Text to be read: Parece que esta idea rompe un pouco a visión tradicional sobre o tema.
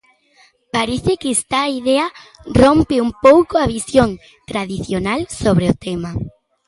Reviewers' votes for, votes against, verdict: 1, 2, rejected